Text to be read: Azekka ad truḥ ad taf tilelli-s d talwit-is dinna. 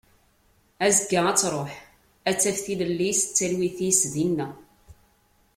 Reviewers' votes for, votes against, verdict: 2, 0, accepted